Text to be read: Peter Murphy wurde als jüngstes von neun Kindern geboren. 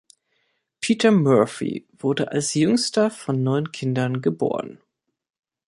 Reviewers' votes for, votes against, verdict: 0, 2, rejected